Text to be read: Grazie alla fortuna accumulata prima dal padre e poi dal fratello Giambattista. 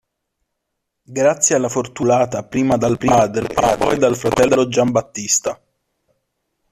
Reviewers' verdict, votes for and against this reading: rejected, 0, 2